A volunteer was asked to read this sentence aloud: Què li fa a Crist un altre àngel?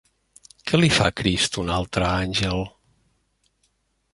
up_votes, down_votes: 1, 2